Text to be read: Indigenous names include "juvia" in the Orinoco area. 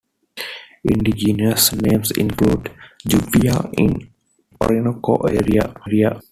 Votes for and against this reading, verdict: 0, 2, rejected